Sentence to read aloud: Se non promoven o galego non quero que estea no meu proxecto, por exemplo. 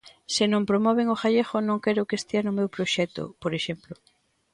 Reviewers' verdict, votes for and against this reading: rejected, 0, 2